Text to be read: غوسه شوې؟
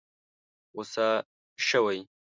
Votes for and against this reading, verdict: 1, 2, rejected